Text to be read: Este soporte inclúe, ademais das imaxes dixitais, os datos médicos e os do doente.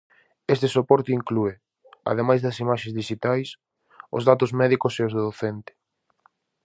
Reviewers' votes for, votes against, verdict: 0, 2, rejected